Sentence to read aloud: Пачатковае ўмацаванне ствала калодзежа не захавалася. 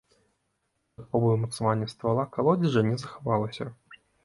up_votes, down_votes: 0, 2